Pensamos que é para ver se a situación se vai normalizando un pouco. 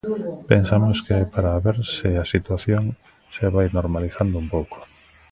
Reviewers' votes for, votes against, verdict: 1, 2, rejected